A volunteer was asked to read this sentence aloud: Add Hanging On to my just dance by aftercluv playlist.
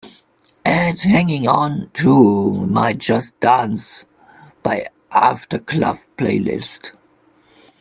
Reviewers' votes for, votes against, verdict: 2, 1, accepted